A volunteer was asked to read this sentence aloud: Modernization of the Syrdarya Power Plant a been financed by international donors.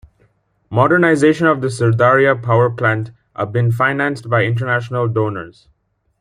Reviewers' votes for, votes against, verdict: 1, 2, rejected